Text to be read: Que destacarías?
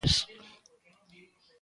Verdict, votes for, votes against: rejected, 0, 2